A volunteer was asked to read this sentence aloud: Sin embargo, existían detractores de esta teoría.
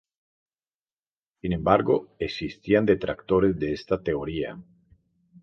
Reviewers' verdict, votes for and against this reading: rejected, 0, 2